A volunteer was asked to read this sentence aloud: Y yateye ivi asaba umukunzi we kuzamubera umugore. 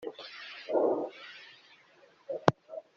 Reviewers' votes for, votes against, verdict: 0, 2, rejected